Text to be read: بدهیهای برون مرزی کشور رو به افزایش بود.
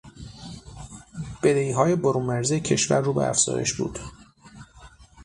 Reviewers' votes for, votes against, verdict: 6, 0, accepted